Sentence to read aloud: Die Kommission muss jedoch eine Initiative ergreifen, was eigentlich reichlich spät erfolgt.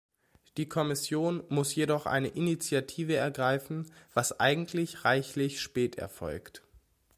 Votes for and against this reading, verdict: 2, 0, accepted